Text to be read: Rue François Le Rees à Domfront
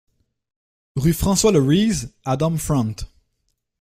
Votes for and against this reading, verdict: 2, 1, accepted